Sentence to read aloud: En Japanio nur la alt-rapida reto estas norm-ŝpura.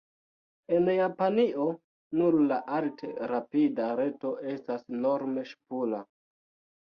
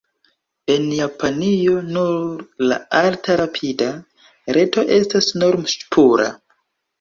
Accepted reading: second